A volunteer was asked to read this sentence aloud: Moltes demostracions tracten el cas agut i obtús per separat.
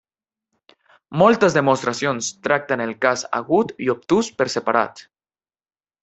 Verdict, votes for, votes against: rejected, 1, 2